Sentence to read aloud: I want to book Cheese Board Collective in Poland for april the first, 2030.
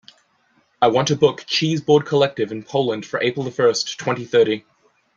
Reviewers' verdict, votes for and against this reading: rejected, 0, 2